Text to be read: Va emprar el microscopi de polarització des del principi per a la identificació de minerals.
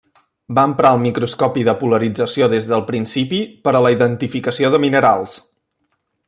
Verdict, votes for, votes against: rejected, 1, 2